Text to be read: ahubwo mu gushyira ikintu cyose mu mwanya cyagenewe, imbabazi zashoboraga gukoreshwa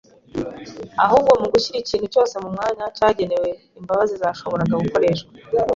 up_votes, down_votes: 2, 0